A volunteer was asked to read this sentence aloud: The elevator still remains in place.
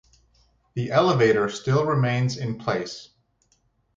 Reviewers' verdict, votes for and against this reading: accepted, 2, 0